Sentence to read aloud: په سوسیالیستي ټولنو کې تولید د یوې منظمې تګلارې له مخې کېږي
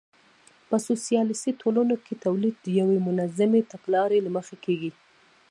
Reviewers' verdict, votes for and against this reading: rejected, 0, 2